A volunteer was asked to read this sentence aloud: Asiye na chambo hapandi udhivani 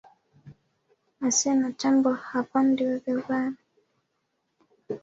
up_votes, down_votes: 0, 2